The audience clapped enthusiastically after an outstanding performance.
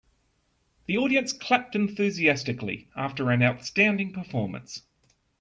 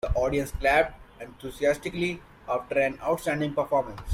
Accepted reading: first